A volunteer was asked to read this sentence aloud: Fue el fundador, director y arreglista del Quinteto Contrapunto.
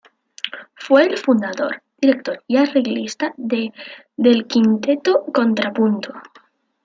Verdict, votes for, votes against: rejected, 1, 2